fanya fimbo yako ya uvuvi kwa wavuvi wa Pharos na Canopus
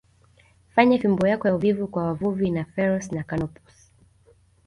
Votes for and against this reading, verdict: 2, 1, accepted